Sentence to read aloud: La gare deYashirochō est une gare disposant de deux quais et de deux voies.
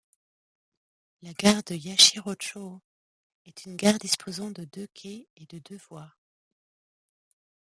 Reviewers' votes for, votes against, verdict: 1, 2, rejected